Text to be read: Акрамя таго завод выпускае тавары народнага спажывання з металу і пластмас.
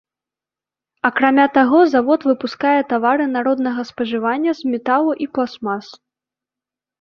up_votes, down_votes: 2, 0